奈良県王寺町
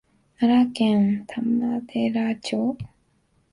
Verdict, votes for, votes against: accepted, 2, 0